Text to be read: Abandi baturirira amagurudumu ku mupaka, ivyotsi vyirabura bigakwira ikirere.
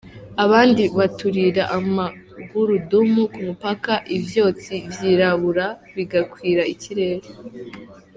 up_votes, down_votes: 2, 1